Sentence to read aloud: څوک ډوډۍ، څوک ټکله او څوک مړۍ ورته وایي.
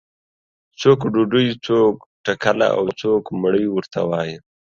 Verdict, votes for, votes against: accepted, 2, 0